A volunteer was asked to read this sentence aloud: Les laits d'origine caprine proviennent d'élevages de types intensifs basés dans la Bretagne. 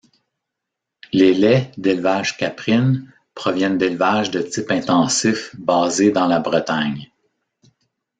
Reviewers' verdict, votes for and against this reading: rejected, 1, 2